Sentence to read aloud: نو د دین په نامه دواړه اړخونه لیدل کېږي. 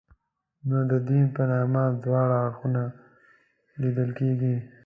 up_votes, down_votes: 2, 0